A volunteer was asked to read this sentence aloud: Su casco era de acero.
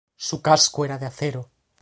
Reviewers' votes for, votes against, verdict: 2, 0, accepted